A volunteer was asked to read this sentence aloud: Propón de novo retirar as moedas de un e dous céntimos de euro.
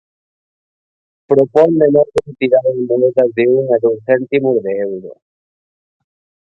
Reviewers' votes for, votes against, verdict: 0, 2, rejected